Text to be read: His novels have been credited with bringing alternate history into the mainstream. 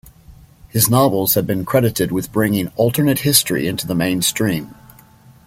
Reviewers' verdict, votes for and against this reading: accepted, 2, 0